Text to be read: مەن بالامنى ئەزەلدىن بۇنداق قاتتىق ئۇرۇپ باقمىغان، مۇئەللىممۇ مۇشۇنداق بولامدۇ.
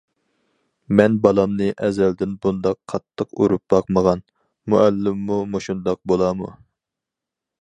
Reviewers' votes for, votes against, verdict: 2, 4, rejected